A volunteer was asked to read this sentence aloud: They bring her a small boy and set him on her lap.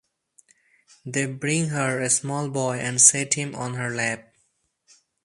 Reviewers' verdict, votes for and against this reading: accepted, 4, 0